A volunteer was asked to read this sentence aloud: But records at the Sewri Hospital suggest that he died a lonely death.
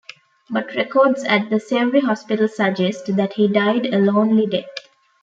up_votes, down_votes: 3, 0